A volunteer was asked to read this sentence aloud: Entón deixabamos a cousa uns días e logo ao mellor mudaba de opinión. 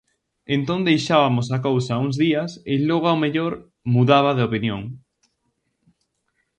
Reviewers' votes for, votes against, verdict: 0, 2, rejected